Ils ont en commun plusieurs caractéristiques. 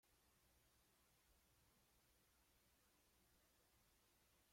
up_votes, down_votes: 0, 2